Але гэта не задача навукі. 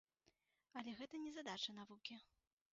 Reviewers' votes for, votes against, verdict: 2, 1, accepted